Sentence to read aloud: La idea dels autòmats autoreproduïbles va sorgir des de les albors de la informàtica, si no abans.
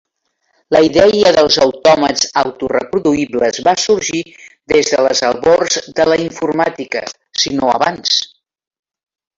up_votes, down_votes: 2, 0